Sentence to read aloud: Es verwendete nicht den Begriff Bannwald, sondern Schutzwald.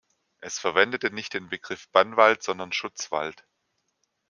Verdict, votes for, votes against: accepted, 2, 0